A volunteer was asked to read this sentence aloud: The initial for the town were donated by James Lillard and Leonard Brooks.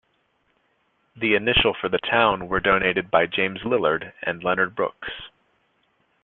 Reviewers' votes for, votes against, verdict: 2, 0, accepted